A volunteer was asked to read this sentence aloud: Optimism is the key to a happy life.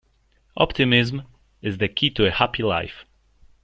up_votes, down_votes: 1, 2